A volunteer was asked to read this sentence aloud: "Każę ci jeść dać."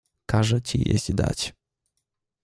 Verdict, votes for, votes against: accepted, 2, 0